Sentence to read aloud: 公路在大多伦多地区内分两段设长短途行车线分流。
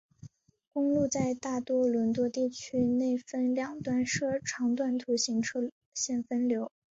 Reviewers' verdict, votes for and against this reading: rejected, 0, 2